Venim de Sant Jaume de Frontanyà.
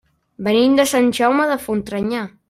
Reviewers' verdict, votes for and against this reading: rejected, 0, 2